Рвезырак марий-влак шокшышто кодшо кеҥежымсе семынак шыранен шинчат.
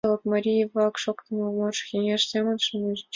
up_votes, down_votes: 1, 2